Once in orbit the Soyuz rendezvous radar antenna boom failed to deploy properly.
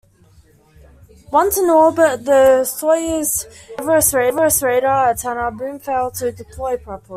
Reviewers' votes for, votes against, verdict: 0, 2, rejected